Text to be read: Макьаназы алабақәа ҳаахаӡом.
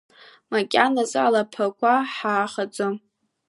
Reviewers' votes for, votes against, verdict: 1, 2, rejected